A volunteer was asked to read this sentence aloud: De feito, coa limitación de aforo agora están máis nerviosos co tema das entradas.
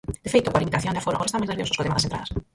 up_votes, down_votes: 0, 4